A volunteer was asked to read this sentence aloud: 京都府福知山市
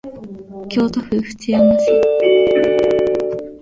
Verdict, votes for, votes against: rejected, 0, 2